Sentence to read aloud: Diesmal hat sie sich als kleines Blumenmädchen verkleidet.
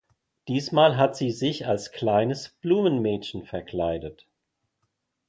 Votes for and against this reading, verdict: 2, 0, accepted